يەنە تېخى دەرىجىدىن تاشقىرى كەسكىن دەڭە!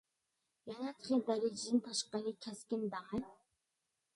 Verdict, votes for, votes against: rejected, 0, 2